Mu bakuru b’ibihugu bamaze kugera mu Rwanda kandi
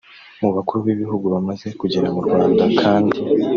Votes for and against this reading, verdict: 2, 0, accepted